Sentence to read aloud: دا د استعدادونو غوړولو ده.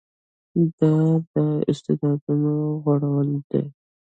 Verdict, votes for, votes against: rejected, 1, 2